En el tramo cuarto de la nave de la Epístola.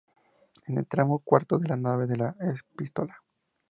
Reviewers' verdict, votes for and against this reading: accepted, 2, 0